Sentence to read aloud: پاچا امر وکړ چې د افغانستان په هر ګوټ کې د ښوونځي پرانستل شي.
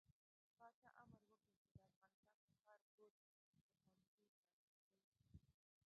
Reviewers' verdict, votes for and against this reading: rejected, 0, 2